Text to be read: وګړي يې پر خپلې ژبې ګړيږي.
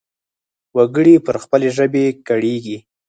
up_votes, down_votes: 0, 4